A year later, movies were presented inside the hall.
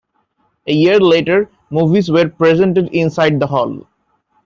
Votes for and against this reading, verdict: 2, 0, accepted